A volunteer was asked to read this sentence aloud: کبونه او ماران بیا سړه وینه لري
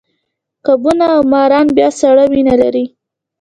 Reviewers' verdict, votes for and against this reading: accepted, 2, 0